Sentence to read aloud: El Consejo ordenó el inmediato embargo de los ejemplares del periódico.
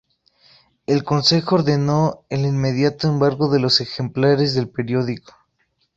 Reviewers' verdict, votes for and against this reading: rejected, 0, 2